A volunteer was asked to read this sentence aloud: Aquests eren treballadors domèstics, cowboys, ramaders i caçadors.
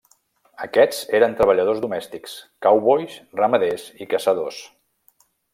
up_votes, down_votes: 2, 0